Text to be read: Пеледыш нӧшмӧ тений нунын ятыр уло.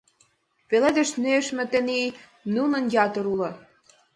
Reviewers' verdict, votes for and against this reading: accepted, 2, 0